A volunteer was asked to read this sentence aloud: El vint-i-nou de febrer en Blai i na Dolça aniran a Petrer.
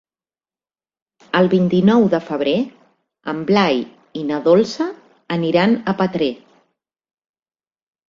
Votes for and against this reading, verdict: 3, 0, accepted